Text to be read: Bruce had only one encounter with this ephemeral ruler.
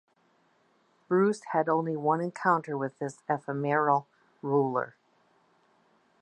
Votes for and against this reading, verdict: 1, 2, rejected